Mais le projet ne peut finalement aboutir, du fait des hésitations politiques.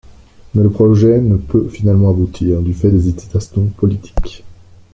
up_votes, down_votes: 1, 2